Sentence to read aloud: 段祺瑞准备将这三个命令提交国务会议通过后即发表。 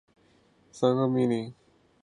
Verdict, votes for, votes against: rejected, 1, 3